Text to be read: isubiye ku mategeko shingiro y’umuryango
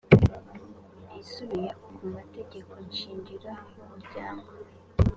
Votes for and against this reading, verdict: 1, 2, rejected